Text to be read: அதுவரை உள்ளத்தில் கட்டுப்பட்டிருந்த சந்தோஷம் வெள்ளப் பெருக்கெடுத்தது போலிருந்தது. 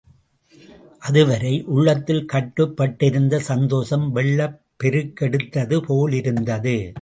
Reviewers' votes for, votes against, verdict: 2, 0, accepted